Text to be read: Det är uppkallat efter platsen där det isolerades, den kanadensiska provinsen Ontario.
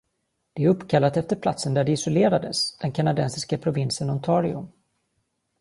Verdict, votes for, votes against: accepted, 2, 0